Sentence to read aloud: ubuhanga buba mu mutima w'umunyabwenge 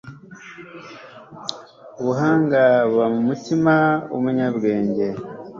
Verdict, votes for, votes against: accepted, 2, 0